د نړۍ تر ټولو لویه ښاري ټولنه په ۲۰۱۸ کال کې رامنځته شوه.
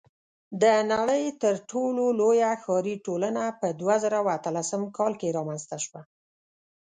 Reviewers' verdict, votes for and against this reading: rejected, 0, 2